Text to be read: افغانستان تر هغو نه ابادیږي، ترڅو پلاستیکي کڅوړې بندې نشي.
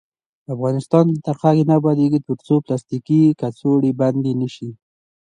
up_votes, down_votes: 2, 0